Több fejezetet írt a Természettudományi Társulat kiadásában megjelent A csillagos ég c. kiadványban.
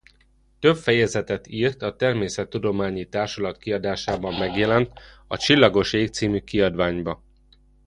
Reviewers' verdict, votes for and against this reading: accepted, 2, 1